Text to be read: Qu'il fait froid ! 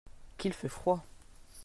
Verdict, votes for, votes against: accepted, 2, 0